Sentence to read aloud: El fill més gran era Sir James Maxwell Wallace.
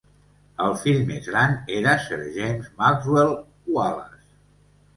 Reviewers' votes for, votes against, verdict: 2, 0, accepted